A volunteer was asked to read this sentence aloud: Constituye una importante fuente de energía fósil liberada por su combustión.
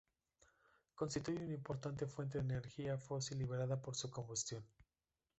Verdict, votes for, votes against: rejected, 0, 2